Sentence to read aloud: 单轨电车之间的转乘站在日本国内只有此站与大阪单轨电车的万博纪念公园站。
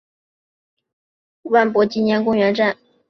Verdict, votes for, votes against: rejected, 1, 2